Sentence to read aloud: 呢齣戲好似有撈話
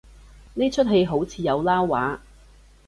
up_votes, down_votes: 2, 0